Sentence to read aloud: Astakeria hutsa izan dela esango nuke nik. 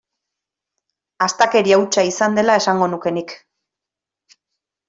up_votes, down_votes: 3, 0